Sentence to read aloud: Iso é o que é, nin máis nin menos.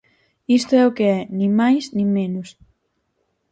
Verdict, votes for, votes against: rejected, 0, 4